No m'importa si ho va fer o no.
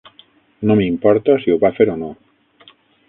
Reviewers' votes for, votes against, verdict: 9, 0, accepted